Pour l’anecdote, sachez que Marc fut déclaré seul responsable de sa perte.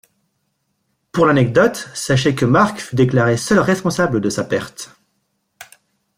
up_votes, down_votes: 2, 0